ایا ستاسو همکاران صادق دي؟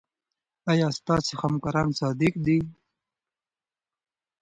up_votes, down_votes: 2, 0